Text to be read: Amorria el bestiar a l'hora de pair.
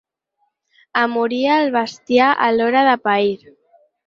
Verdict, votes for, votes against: rejected, 2, 4